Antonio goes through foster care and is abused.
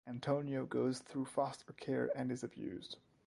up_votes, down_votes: 2, 0